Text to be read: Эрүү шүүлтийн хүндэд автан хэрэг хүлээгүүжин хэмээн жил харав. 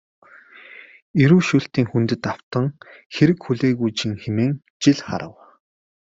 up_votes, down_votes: 2, 0